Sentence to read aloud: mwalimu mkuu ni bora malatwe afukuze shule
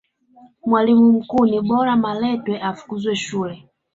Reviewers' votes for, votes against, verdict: 3, 1, accepted